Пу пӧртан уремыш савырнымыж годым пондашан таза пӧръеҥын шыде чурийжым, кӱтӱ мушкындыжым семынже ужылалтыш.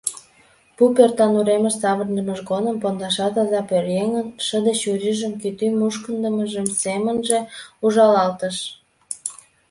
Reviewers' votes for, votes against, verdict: 1, 2, rejected